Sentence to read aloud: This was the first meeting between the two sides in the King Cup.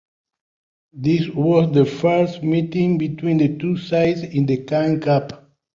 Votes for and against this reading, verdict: 0, 2, rejected